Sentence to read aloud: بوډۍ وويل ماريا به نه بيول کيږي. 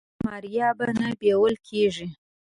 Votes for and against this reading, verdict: 1, 2, rejected